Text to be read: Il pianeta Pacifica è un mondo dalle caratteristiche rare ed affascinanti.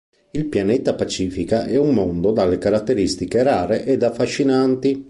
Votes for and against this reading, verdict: 2, 0, accepted